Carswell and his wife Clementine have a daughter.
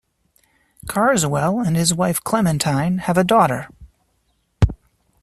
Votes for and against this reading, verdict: 2, 0, accepted